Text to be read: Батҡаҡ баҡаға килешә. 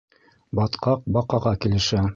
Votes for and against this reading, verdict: 1, 2, rejected